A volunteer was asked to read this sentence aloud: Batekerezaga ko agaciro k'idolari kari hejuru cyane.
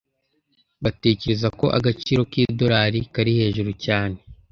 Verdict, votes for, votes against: rejected, 1, 2